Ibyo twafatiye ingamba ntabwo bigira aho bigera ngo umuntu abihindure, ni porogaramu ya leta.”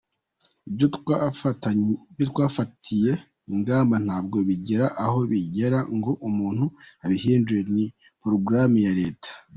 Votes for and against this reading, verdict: 1, 2, rejected